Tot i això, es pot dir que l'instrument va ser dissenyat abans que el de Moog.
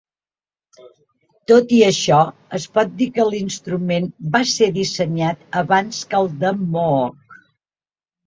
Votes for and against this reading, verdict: 5, 0, accepted